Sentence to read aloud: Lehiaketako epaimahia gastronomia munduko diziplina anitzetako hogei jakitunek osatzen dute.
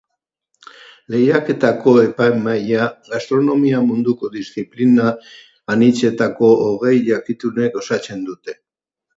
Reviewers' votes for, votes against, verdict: 2, 0, accepted